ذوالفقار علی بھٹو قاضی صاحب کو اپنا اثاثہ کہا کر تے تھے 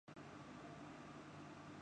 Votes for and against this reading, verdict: 0, 2, rejected